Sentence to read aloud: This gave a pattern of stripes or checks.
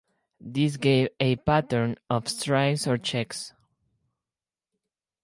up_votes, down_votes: 4, 2